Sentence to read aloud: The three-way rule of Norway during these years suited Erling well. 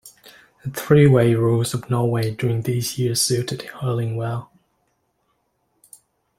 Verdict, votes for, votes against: rejected, 0, 2